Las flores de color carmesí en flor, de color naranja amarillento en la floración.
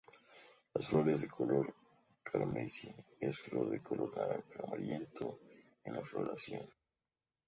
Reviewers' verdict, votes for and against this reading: rejected, 0, 2